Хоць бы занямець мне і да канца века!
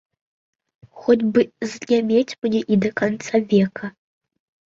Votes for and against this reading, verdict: 2, 1, accepted